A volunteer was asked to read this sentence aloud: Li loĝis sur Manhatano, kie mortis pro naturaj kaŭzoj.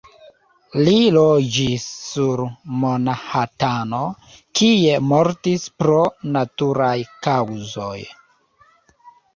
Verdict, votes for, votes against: rejected, 0, 2